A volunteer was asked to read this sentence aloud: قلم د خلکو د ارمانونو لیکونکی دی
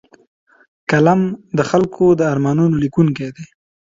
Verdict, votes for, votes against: accepted, 2, 0